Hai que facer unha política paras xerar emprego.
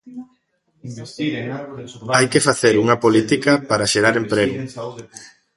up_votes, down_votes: 1, 2